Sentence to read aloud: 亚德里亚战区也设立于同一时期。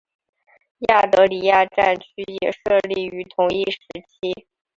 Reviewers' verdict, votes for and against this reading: accepted, 3, 0